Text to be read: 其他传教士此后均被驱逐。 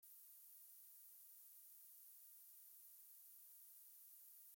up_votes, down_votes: 0, 2